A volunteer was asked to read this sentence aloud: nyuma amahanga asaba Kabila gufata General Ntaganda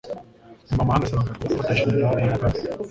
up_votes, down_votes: 1, 2